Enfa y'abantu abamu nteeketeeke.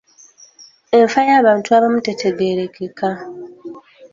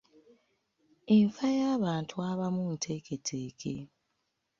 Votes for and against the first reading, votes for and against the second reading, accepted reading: 0, 2, 2, 1, second